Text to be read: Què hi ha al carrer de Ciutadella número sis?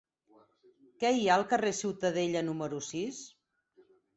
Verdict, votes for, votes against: rejected, 2, 4